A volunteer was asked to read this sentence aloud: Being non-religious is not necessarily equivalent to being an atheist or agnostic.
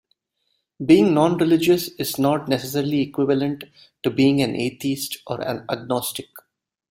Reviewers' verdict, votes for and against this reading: rejected, 0, 2